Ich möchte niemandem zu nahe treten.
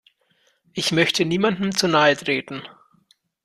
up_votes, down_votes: 2, 0